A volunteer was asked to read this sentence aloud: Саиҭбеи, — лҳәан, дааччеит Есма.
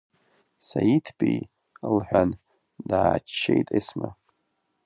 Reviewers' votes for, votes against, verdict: 3, 0, accepted